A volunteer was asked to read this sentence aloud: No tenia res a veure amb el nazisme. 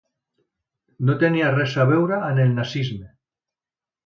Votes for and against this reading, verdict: 1, 2, rejected